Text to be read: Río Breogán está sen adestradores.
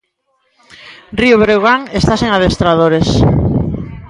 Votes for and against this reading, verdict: 2, 0, accepted